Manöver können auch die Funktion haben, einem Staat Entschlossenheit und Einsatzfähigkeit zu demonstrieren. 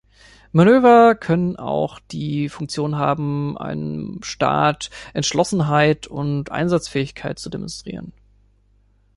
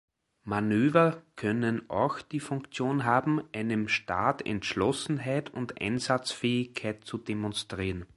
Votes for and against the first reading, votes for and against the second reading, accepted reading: 1, 2, 2, 1, second